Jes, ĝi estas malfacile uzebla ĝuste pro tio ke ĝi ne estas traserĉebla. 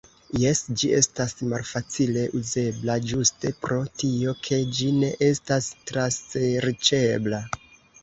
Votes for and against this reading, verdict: 2, 0, accepted